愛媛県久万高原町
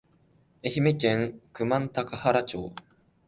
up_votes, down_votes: 2, 0